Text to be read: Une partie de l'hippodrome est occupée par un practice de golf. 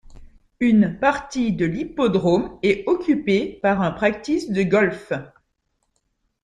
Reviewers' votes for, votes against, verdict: 2, 0, accepted